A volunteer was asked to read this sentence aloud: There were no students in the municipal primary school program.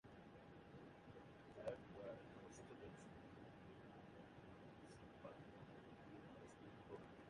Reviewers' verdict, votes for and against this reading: rejected, 0, 2